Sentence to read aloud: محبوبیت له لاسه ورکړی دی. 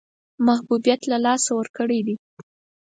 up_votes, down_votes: 4, 0